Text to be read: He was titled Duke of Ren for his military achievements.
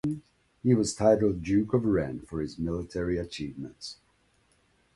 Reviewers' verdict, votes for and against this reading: accepted, 2, 0